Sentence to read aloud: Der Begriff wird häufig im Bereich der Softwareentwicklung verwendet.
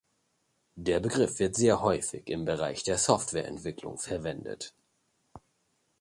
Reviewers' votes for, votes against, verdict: 2, 1, accepted